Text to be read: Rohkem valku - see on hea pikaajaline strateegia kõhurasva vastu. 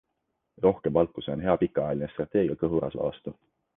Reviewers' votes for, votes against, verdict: 2, 0, accepted